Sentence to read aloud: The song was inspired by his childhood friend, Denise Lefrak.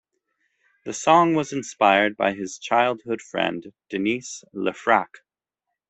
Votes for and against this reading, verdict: 2, 0, accepted